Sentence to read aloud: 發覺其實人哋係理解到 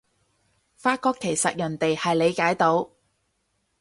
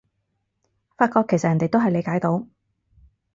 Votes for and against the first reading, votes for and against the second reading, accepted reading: 4, 0, 0, 4, first